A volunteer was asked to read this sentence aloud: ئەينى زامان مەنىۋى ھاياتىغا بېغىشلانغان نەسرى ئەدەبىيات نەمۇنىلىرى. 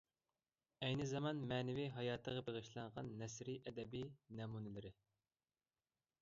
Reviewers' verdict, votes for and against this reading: rejected, 0, 2